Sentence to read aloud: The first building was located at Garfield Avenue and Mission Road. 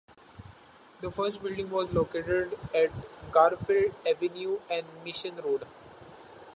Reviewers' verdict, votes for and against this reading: accepted, 2, 1